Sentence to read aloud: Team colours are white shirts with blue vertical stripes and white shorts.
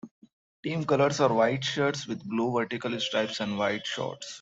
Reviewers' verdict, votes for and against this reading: accepted, 2, 1